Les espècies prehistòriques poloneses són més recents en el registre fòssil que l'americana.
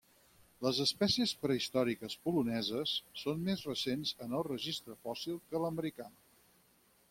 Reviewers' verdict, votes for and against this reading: rejected, 2, 4